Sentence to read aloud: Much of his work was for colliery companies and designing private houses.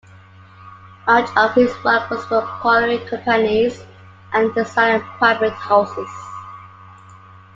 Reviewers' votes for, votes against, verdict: 0, 2, rejected